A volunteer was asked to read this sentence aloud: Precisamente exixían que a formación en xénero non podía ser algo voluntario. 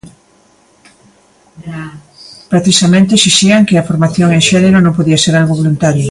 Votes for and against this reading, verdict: 0, 2, rejected